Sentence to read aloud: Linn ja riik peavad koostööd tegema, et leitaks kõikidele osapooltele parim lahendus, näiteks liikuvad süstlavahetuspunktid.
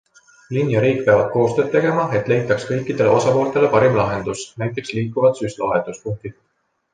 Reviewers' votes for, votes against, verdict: 2, 0, accepted